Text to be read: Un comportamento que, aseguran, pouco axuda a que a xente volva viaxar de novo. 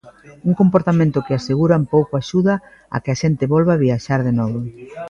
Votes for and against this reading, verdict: 2, 1, accepted